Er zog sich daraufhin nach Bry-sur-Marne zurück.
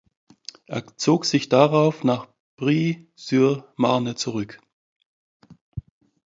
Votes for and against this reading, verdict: 0, 2, rejected